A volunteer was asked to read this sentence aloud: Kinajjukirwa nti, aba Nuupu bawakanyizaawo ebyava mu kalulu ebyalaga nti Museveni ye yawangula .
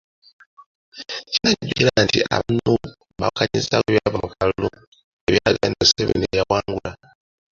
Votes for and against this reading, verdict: 0, 2, rejected